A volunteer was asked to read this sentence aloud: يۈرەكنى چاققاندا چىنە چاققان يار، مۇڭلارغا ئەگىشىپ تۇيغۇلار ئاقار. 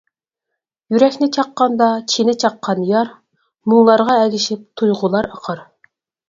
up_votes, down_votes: 4, 0